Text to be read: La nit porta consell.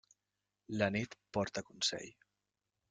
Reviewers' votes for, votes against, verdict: 1, 2, rejected